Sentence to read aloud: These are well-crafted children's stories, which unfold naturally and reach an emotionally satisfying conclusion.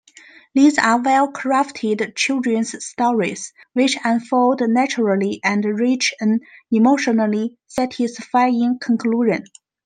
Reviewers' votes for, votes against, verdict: 2, 0, accepted